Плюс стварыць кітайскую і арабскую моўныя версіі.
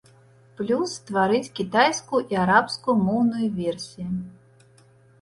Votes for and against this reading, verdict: 2, 1, accepted